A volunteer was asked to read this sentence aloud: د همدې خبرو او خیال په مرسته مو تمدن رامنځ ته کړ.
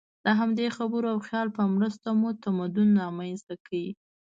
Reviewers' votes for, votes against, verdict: 2, 1, accepted